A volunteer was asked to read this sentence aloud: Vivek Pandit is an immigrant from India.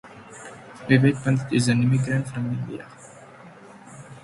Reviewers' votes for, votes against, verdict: 0, 2, rejected